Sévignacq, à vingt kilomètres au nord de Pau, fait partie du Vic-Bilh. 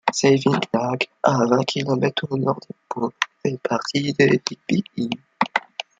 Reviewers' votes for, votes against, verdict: 1, 2, rejected